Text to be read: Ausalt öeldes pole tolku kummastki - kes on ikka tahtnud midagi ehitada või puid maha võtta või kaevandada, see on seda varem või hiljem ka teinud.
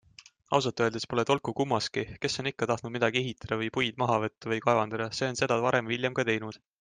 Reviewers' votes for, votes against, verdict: 2, 0, accepted